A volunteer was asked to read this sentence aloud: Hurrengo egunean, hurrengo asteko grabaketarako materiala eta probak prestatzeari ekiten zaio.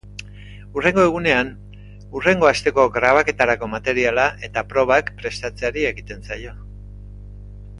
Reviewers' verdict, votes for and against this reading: accepted, 2, 0